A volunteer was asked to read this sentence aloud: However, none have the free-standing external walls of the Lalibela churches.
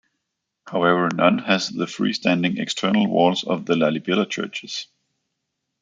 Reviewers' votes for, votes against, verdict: 2, 1, accepted